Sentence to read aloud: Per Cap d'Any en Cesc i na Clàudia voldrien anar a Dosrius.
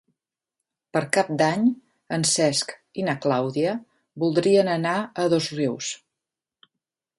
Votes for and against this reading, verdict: 3, 0, accepted